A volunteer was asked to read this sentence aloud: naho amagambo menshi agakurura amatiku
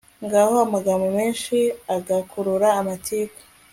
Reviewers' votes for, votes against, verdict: 2, 0, accepted